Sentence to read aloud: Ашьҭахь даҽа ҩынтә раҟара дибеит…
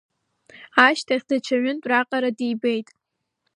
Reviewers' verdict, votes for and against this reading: accepted, 2, 0